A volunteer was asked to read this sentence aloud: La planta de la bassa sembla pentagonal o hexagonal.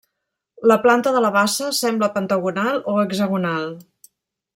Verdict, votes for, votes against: accepted, 3, 1